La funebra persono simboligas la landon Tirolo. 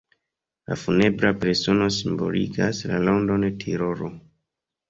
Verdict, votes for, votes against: rejected, 0, 2